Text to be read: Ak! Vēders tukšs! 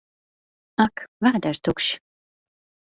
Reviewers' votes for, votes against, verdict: 4, 0, accepted